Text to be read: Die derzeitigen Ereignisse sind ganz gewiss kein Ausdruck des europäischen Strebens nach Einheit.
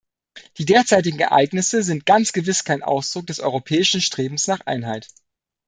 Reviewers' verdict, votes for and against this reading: accepted, 2, 0